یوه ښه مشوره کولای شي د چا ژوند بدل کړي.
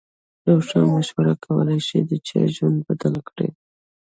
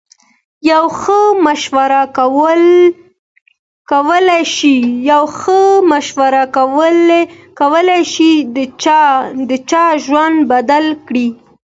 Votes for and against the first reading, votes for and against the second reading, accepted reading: 2, 0, 0, 2, first